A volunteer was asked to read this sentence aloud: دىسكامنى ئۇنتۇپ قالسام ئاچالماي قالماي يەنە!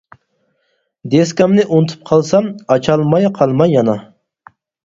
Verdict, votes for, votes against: rejected, 0, 4